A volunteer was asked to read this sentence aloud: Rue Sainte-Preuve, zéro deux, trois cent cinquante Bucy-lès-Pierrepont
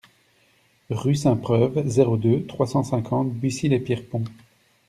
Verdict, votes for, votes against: accepted, 2, 0